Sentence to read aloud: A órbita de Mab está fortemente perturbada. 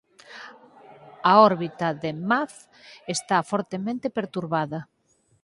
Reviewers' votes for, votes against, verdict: 4, 0, accepted